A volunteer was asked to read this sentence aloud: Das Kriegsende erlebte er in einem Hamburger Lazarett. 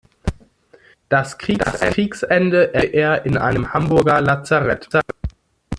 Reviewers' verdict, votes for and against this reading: rejected, 0, 2